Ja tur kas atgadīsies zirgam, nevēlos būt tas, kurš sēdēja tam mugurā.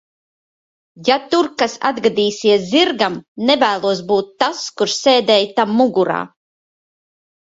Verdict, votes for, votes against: accepted, 2, 0